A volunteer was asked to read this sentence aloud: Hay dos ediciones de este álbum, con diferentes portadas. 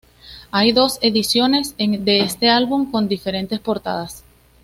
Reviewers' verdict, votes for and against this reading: accepted, 2, 0